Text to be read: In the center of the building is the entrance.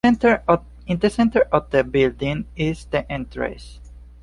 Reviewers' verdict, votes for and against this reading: rejected, 1, 2